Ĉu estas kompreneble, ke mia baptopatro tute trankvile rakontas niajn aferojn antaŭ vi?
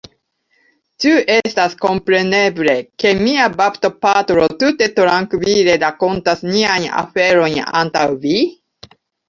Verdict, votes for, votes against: rejected, 0, 2